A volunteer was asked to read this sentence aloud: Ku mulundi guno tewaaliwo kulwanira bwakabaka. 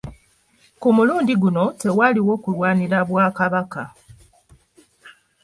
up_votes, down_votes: 0, 2